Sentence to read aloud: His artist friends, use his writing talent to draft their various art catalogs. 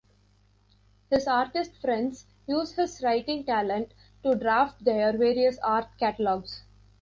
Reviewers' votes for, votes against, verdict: 1, 2, rejected